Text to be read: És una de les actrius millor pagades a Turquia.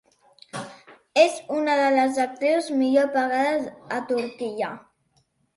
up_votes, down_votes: 2, 0